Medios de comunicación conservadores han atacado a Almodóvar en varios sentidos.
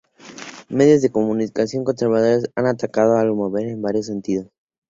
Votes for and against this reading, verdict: 0, 2, rejected